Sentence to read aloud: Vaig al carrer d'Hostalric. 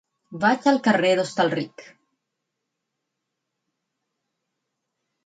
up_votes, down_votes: 6, 0